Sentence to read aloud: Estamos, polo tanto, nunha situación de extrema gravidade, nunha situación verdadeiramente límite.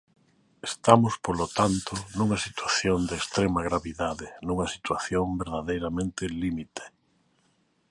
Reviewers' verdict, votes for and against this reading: accepted, 2, 0